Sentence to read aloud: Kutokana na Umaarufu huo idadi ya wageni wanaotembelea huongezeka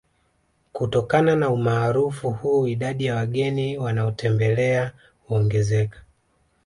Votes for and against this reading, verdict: 2, 0, accepted